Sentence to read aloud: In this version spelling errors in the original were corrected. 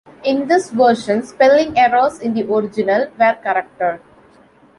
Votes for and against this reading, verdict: 1, 2, rejected